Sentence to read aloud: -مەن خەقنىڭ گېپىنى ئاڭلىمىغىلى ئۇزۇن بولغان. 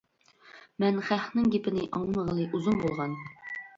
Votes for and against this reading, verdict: 1, 2, rejected